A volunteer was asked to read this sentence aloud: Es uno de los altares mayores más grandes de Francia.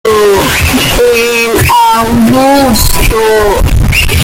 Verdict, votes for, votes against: rejected, 0, 2